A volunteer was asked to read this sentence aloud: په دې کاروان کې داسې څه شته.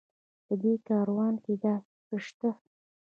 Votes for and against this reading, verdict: 1, 2, rejected